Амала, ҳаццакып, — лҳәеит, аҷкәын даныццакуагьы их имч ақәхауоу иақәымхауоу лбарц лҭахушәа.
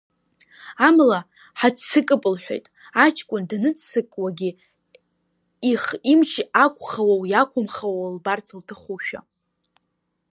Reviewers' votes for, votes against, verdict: 2, 0, accepted